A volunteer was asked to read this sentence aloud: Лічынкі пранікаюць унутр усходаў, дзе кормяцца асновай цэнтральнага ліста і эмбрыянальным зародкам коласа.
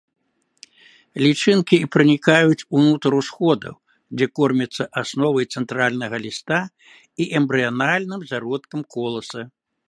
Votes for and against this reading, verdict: 4, 0, accepted